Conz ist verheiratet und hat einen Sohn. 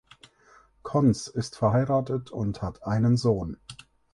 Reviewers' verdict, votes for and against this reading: accepted, 4, 0